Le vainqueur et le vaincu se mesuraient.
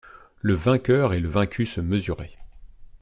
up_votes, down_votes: 2, 0